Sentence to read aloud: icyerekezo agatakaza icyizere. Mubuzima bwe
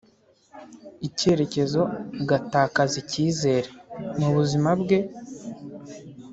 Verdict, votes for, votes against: accepted, 3, 0